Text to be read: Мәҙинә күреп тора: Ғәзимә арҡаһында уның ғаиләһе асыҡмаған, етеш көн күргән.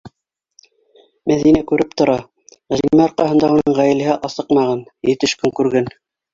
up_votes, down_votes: 2, 1